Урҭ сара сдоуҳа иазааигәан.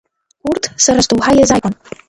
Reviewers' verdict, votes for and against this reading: accepted, 2, 1